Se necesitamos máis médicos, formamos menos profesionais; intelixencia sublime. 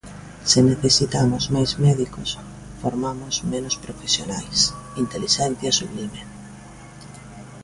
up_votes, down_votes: 2, 0